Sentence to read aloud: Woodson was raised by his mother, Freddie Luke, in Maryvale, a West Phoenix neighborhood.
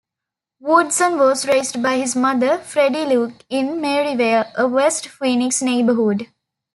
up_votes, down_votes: 2, 0